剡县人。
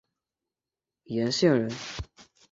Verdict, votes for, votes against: accepted, 4, 2